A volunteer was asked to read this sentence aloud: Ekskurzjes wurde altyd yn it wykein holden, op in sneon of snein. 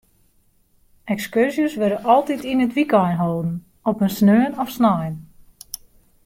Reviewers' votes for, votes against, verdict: 2, 0, accepted